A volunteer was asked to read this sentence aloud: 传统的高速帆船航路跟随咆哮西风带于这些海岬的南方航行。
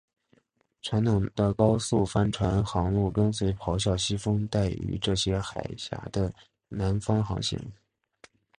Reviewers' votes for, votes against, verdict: 2, 0, accepted